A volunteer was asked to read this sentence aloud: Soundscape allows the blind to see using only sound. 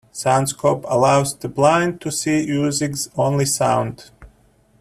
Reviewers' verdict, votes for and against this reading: rejected, 0, 2